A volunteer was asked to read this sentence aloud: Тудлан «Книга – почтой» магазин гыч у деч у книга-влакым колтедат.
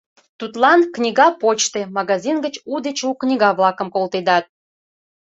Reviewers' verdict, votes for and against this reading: accepted, 2, 1